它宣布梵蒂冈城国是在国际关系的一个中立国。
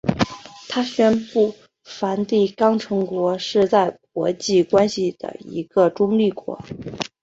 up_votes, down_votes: 3, 0